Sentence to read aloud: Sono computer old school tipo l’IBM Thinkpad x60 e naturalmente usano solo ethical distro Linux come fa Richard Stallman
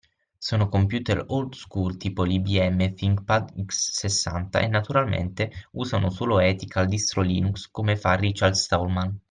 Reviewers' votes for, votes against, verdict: 0, 2, rejected